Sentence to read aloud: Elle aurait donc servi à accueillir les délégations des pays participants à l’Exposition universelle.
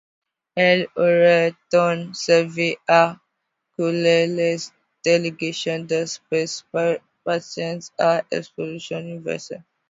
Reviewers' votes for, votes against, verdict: 0, 2, rejected